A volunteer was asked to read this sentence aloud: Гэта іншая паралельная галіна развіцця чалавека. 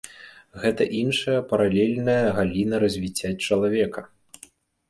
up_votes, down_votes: 1, 2